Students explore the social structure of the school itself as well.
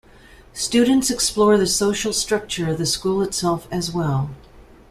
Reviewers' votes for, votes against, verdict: 2, 0, accepted